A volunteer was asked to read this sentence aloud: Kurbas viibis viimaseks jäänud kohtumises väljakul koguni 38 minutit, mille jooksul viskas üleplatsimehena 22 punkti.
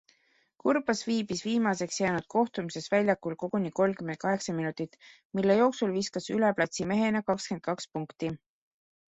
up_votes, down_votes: 0, 2